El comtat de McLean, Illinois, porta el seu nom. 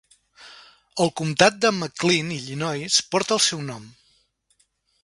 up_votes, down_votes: 3, 0